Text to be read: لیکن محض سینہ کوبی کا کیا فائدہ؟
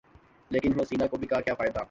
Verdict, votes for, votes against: rejected, 0, 2